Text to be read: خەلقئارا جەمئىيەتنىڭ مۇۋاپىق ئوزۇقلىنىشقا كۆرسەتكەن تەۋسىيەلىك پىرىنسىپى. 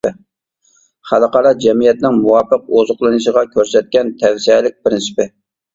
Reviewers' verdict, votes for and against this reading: rejected, 0, 2